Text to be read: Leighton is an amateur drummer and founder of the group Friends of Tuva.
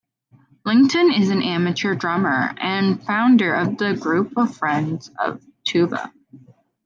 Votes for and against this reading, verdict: 1, 2, rejected